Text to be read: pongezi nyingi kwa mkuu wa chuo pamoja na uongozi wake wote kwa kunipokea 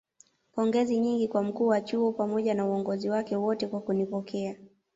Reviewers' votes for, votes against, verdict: 2, 0, accepted